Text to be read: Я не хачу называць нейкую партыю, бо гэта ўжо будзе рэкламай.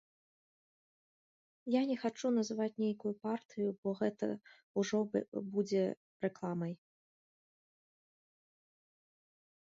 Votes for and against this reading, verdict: 0, 2, rejected